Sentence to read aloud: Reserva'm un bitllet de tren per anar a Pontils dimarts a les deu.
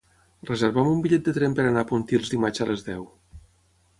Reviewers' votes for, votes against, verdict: 6, 0, accepted